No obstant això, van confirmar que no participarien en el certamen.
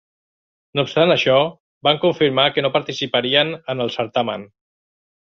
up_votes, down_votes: 2, 0